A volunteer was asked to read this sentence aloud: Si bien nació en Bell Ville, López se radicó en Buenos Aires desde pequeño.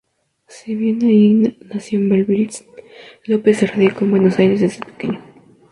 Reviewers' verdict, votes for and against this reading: rejected, 2, 2